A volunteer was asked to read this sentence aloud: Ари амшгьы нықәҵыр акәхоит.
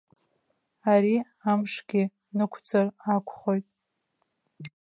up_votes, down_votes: 0, 2